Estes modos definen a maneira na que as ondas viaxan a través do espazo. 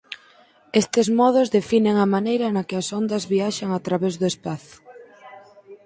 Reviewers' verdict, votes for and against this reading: accepted, 4, 0